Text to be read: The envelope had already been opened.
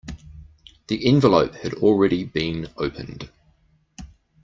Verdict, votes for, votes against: accepted, 2, 0